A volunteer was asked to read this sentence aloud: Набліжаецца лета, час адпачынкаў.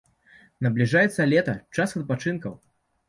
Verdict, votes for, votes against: accepted, 2, 0